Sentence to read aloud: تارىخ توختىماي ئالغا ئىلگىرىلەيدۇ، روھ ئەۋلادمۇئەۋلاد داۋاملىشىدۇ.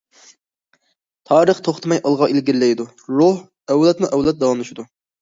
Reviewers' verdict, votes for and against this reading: accepted, 2, 0